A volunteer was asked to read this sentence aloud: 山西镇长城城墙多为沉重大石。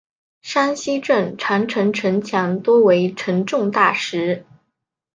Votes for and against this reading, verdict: 6, 0, accepted